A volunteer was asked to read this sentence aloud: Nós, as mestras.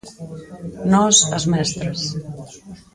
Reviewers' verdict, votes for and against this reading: rejected, 0, 4